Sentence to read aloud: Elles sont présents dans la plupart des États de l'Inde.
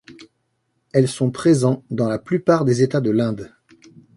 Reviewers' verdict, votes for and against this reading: accepted, 2, 0